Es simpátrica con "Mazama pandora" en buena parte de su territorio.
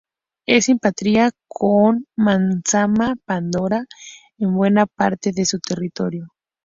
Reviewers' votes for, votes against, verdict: 0, 2, rejected